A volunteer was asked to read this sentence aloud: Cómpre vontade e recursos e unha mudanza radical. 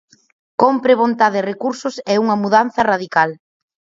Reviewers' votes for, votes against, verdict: 6, 0, accepted